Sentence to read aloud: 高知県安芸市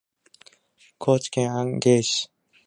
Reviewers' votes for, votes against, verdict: 0, 2, rejected